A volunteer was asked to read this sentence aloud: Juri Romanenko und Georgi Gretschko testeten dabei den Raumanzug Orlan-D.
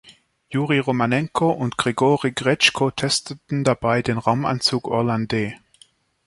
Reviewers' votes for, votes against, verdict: 1, 2, rejected